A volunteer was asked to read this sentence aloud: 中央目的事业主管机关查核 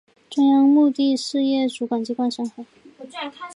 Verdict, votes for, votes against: accepted, 2, 0